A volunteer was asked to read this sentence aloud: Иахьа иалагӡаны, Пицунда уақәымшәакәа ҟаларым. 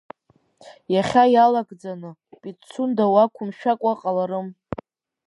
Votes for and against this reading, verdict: 3, 0, accepted